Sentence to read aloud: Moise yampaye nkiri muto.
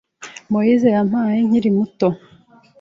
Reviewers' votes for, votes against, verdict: 2, 0, accepted